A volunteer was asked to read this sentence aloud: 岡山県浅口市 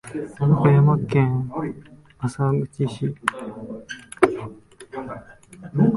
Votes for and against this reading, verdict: 0, 3, rejected